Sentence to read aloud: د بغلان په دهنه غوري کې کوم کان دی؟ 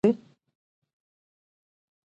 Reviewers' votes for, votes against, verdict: 0, 2, rejected